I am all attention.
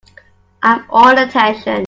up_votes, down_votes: 2, 1